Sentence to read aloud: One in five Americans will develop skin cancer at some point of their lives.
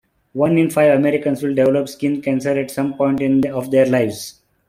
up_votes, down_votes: 0, 2